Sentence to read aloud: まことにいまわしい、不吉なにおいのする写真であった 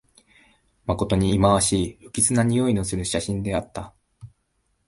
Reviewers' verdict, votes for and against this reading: accepted, 2, 0